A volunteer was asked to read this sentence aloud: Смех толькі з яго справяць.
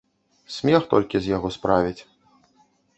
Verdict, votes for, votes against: accepted, 2, 0